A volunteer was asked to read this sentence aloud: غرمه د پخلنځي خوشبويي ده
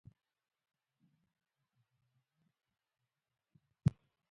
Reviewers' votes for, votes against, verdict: 0, 3, rejected